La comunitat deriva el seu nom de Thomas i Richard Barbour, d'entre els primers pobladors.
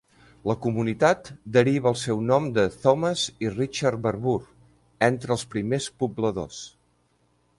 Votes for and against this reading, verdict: 1, 2, rejected